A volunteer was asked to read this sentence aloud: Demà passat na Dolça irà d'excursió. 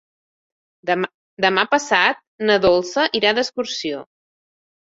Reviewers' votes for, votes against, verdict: 1, 2, rejected